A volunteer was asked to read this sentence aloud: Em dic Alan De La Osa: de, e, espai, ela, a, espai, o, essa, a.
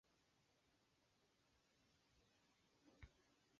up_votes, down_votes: 0, 3